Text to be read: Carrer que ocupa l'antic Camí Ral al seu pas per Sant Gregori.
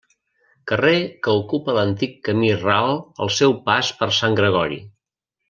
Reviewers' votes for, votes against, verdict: 2, 0, accepted